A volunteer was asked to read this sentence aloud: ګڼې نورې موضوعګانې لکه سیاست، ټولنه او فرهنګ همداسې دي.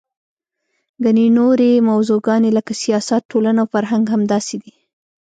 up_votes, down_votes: 1, 2